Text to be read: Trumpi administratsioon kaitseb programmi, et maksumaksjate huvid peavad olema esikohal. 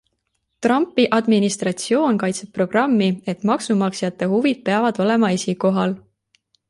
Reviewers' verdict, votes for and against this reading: accepted, 2, 0